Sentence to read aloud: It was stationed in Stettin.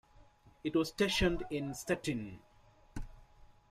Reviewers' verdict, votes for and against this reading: accepted, 2, 1